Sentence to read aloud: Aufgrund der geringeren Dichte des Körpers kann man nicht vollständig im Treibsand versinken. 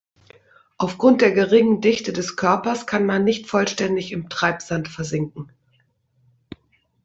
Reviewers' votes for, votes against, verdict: 1, 2, rejected